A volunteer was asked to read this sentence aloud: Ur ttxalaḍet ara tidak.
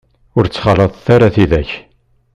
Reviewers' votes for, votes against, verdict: 2, 0, accepted